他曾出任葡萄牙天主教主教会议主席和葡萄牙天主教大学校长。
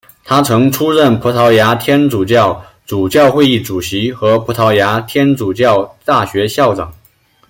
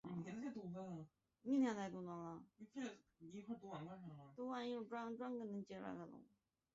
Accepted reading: first